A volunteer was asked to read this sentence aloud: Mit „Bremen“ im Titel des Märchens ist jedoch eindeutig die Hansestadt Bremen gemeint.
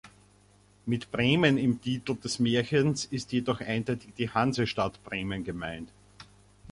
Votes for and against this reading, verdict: 2, 0, accepted